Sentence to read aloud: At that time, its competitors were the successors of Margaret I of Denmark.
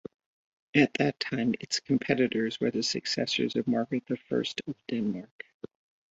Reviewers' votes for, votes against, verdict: 1, 2, rejected